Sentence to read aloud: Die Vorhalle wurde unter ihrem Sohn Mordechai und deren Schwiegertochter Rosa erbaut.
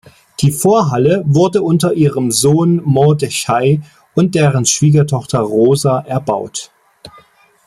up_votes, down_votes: 2, 1